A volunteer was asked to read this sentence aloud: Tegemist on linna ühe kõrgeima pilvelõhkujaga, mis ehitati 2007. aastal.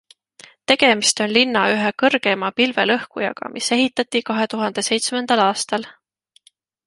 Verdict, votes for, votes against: rejected, 0, 2